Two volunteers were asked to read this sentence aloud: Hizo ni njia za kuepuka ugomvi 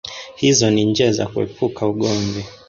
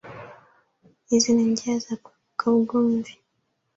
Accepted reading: second